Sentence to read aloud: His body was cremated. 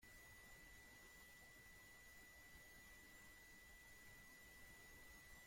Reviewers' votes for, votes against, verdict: 0, 2, rejected